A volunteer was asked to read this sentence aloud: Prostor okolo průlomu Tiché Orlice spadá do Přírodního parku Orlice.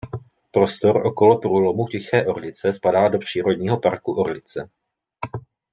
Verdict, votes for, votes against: rejected, 1, 2